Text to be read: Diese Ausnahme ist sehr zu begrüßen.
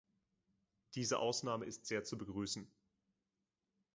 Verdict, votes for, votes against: accepted, 3, 0